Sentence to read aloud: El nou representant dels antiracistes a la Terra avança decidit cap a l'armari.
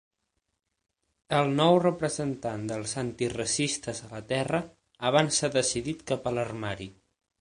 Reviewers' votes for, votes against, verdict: 6, 0, accepted